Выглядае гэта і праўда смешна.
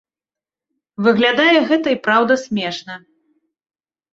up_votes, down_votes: 3, 0